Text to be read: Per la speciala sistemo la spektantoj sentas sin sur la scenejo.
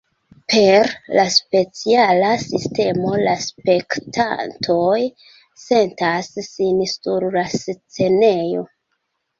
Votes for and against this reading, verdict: 2, 0, accepted